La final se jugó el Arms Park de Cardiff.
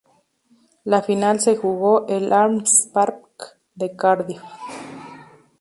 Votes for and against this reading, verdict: 2, 2, rejected